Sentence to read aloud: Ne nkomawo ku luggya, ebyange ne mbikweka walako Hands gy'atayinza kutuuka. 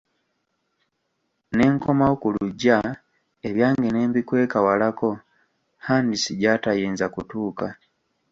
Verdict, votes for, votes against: rejected, 1, 2